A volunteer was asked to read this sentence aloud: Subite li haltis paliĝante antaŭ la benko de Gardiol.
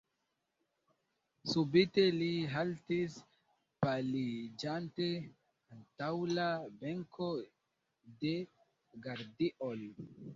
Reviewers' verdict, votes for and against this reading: rejected, 1, 2